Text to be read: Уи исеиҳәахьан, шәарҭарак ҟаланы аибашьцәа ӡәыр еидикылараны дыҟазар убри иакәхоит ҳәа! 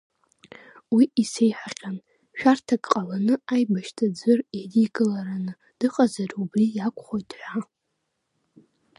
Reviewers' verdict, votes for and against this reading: rejected, 0, 2